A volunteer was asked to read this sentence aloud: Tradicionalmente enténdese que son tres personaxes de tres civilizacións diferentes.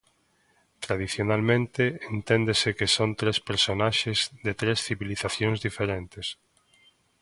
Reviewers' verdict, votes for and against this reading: accepted, 2, 0